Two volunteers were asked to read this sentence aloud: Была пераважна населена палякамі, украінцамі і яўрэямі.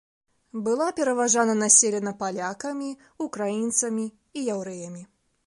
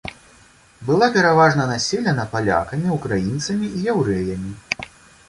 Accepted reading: second